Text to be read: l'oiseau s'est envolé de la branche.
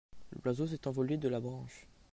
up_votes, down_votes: 2, 0